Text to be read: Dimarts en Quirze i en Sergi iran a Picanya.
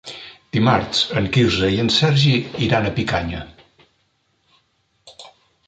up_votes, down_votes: 3, 0